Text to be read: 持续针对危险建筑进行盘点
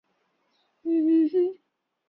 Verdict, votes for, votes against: rejected, 0, 2